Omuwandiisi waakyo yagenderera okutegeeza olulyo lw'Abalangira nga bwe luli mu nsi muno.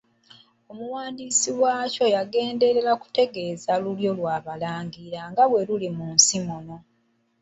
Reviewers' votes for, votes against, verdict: 0, 2, rejected